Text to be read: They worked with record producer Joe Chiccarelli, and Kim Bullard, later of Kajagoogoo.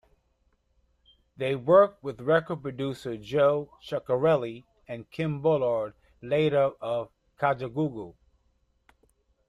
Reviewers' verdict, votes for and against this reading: rejected, 1, 2